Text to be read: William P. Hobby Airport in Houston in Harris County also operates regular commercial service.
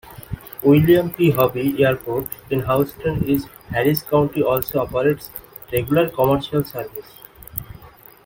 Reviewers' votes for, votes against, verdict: 1, 2, rejected